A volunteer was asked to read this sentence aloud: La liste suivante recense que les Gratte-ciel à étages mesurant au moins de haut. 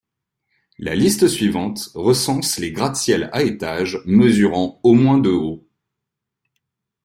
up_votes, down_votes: 1, 2